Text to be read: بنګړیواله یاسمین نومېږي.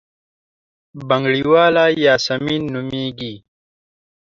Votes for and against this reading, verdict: 2, 0, accepted